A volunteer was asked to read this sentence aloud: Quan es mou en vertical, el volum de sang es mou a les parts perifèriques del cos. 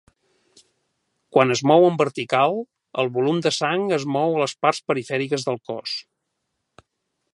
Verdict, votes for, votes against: accepted, 3, 0